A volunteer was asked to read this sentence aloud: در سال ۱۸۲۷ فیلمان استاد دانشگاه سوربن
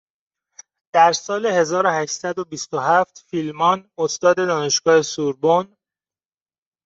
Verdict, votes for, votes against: rejected, 0, 2